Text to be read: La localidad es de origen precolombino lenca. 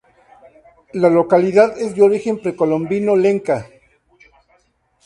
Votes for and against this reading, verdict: 2, 0, accepted